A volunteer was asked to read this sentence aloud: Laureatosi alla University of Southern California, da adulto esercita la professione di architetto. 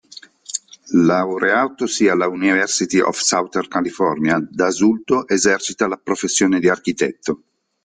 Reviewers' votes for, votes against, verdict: 0, 2, rejected